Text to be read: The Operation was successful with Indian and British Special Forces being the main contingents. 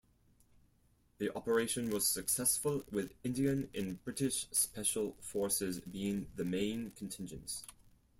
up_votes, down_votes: 4, 0